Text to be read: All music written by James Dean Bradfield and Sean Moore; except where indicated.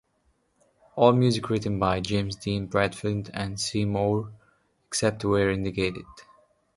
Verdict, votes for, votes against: rejected, 0, 2